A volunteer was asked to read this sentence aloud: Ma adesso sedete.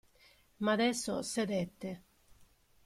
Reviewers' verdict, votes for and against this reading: accepted, 2, 1